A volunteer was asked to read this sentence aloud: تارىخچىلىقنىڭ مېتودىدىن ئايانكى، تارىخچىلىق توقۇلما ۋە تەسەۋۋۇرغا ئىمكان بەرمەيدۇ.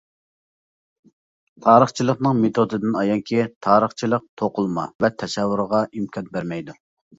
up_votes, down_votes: 2, 0